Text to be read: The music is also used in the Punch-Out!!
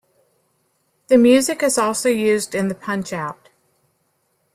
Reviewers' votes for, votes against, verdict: 2, 0, accepted